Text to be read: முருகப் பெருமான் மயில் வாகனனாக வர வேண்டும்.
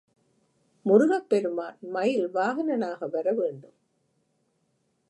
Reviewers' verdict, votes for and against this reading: accepted, 2, 0